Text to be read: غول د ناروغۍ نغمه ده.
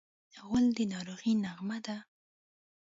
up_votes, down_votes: 0, 2